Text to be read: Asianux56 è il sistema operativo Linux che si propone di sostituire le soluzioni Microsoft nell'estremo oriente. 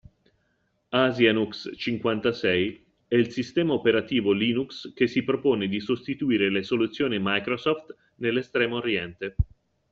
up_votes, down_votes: 0, 2